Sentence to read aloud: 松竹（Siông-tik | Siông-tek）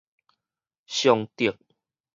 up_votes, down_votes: 4, 0